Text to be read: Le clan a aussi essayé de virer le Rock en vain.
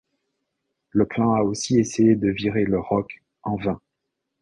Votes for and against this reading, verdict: 2, 0, accepted